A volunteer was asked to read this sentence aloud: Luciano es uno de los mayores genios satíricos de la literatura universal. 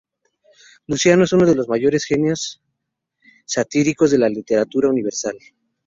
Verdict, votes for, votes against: rejected, 2, 2